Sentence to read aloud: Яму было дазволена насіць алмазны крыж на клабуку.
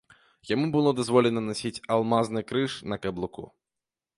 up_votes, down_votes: 0, 2